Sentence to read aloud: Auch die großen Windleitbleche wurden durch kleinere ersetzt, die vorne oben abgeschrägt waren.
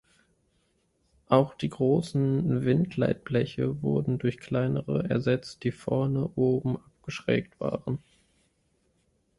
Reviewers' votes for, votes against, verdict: 2, 0, accepted